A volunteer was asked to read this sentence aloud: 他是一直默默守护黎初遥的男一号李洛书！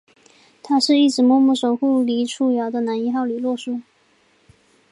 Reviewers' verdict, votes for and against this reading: accepted, 2, 0